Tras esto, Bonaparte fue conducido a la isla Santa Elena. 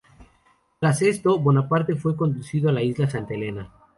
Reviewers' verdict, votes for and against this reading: accepted, 2, 0